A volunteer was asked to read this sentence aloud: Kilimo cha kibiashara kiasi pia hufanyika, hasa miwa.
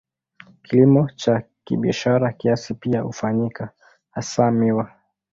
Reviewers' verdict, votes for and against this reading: accepted, 2, 0